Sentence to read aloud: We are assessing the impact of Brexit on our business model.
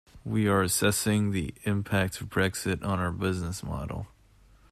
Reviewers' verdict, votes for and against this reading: accepted, 2, 0